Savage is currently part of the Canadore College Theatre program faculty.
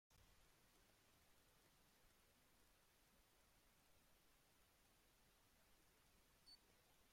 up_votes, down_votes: 0, 2